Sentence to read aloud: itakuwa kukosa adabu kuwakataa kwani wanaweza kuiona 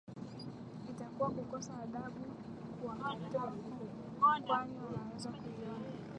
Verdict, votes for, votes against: rejected, 0, 2